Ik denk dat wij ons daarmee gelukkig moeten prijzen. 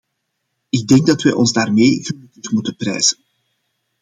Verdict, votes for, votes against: rejected, 0, 2